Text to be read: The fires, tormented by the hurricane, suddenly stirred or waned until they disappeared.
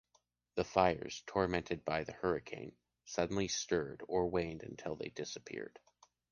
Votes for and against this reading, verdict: 2, 0, accepted